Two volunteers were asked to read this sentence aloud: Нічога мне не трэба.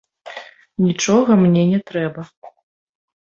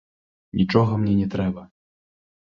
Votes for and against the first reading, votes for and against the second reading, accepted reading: 2, 0, 1, 2, first